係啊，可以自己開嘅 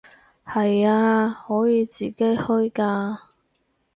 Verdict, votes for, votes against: rejected, 0, 4